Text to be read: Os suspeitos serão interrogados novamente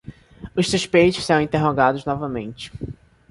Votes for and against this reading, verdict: 2, 0, accepted